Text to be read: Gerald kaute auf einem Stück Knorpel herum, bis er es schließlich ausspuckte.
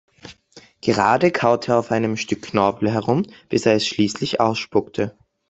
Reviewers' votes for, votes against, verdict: 0, 3, rejected